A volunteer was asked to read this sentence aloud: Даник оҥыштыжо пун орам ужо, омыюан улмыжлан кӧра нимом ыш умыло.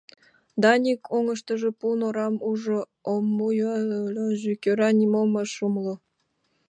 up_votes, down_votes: 0, 2